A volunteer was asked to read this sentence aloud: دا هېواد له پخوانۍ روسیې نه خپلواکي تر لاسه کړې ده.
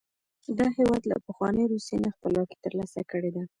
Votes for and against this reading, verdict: 2, 0, accepted